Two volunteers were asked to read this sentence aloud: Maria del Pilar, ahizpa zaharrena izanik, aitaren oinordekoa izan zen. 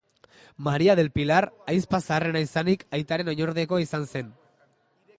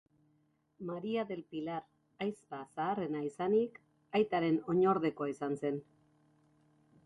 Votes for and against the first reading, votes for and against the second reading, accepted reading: 0, 2, 3, 1, second